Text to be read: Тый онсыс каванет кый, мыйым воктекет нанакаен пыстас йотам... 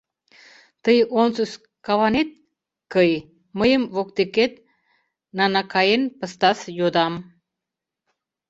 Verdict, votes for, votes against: rejected, 0, 2